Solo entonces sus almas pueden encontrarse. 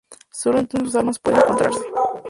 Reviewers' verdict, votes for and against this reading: rejected, 0, 2